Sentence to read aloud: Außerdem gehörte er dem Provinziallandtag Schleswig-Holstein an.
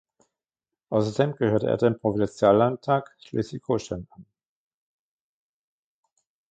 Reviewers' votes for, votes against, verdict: 0, 2, rejected